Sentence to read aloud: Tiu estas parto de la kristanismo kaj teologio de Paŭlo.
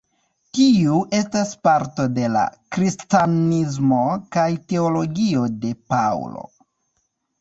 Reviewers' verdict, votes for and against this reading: rejected, 0, 2